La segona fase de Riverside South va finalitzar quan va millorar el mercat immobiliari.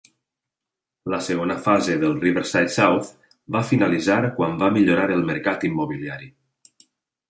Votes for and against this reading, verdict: 2, 0, accepted